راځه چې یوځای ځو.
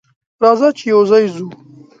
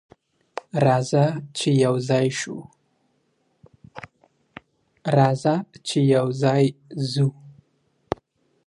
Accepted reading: first